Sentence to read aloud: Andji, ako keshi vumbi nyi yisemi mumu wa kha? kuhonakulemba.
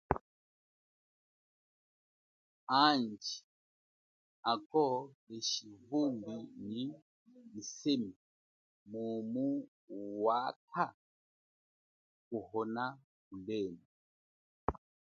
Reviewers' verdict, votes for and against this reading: accepted, 2, 0